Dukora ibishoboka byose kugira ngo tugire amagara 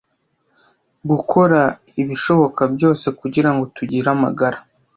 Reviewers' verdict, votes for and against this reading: rejected, 0, 2